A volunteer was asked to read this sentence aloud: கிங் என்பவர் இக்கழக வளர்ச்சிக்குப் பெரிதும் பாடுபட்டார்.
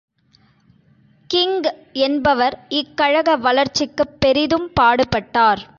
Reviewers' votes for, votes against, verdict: 2, 0, accepted